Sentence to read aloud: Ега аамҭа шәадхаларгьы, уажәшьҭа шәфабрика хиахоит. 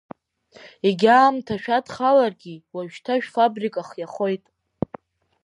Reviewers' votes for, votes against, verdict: 1, 2, rejected